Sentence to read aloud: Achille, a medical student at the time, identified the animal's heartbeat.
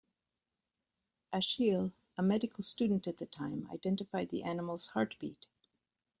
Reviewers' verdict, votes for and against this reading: rejected, 1, 2